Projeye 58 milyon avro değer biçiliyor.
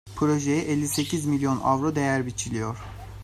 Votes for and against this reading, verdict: 0, 2, rejected